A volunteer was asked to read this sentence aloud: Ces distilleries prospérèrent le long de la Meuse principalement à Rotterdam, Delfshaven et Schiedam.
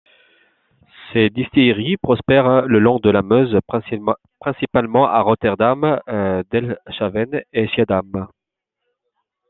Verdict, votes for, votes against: rejected, 0, 2